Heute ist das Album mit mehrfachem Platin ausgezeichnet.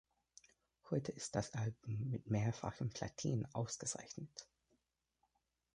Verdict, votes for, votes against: rejected, 1, 2